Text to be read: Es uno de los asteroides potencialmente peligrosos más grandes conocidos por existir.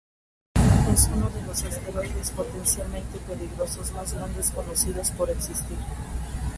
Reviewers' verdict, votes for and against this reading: accepted, 2, 0